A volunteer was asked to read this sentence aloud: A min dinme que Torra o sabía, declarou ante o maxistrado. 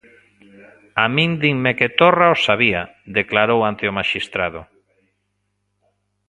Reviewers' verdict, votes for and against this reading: rejected, 0, 2